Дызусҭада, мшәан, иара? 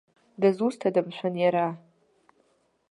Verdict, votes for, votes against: accepted, 2, 0